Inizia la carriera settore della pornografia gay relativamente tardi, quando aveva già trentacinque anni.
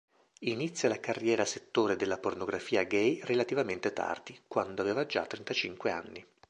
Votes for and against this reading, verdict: 2, 0, accepted